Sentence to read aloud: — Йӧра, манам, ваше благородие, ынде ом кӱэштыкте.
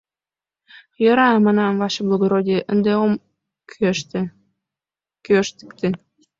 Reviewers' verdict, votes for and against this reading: rejected, 1, 2